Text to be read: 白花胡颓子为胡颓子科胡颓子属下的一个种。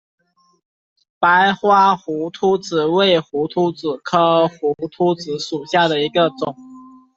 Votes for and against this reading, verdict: 0, 2, rejected